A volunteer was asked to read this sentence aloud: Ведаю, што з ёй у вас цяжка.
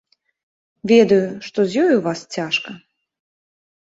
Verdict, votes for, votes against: accepted, 2, 0